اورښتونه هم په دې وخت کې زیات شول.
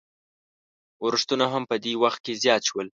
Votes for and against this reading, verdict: 2, 0, accepted